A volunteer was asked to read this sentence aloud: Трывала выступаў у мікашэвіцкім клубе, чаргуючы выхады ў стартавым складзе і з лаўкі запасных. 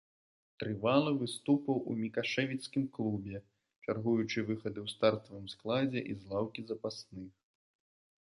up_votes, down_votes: 0, 2